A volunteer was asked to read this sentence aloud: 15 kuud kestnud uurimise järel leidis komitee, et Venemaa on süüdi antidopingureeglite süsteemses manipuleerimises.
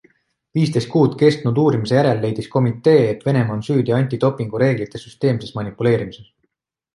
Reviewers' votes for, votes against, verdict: 0, 2, rejected